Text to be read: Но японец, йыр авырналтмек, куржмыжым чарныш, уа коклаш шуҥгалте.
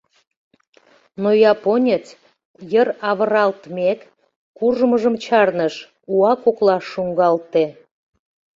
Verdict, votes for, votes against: rejected, 0, 2